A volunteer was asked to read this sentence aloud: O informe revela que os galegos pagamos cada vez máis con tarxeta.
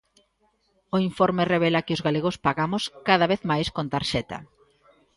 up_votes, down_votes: 2, 0